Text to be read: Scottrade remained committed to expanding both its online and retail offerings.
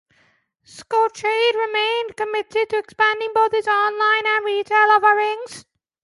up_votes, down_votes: 2, 0